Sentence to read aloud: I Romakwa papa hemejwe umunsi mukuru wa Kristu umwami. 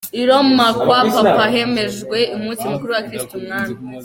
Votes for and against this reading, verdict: 2, 0, accepted